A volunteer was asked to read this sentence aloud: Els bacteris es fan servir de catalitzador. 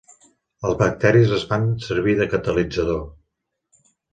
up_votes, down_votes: 4, 0